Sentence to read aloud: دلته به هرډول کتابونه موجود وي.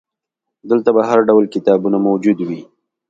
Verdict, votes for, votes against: accepted, 2, 0